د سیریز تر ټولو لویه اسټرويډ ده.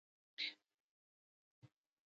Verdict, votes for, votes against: rejected, 1, 2